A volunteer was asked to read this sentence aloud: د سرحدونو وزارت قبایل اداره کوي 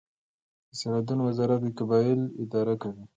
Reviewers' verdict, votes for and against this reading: accepted, 2, 0